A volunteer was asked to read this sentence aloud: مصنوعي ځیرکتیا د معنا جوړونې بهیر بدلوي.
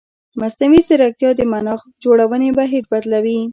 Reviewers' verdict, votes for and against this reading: accepted, 2, 0